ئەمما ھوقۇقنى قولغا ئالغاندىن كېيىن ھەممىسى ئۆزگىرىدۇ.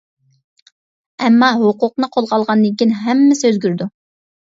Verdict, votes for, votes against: accepted, 2, 0